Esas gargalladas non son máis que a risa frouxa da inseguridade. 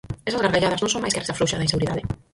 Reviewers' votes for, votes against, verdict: 0, 4, rejected